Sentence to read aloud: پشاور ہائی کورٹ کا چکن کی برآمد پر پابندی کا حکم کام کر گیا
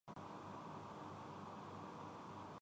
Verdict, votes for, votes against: rejected, 1, 2